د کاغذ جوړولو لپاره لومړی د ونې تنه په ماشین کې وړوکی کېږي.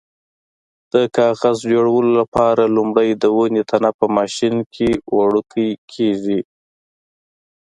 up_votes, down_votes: 2, 0